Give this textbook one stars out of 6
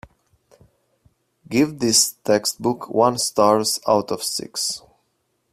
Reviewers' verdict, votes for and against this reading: rejected, 0, 2